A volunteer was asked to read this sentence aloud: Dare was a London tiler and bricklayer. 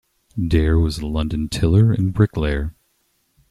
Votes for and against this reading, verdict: 1, 2, rejected